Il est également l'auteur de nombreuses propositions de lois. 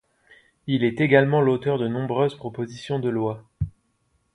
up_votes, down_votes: 2, 1